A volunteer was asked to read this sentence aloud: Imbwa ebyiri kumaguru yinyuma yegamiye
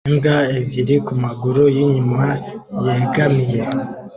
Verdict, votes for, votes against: accepted, 2, 0